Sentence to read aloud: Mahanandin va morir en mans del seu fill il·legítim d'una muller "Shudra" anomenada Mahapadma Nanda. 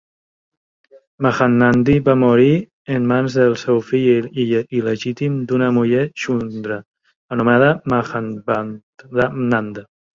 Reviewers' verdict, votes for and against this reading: rejected, 0, 3